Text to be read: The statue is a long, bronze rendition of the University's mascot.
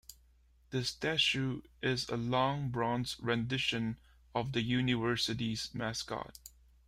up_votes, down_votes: 2, 0